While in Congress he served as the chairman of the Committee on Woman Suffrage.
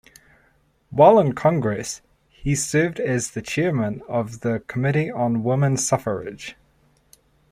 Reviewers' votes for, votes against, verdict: 2, 0, accepted